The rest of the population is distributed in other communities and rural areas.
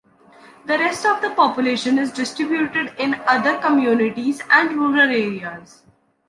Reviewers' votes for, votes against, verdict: 2, 0, accepted